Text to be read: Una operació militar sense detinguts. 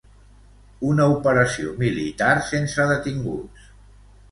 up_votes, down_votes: 2, 0